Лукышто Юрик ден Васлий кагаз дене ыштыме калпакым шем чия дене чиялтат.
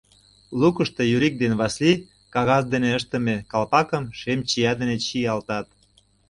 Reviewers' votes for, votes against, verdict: 2, 0, accepted